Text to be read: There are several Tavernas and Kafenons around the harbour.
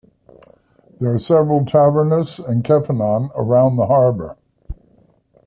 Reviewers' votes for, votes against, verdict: 2, 0, accepted